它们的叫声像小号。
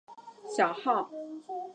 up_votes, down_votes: 1, 2